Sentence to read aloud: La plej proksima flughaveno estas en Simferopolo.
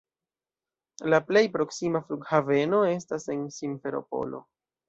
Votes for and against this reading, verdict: 2, 0, accepted